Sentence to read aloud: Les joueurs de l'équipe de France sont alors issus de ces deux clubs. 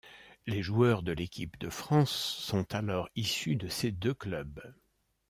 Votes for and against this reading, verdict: 2, 0, accepted